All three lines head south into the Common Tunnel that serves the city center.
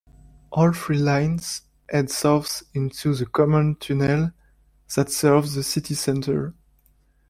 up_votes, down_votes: 1, 2